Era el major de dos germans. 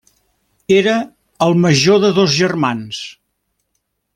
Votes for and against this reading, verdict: 3, 0, accepted